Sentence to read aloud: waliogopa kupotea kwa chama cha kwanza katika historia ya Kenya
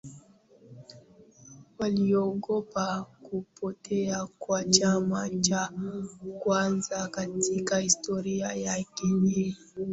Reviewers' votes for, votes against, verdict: 0, 2, rejected